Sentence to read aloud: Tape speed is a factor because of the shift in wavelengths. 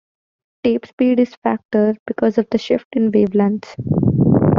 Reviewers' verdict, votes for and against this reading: rejected, 0, 2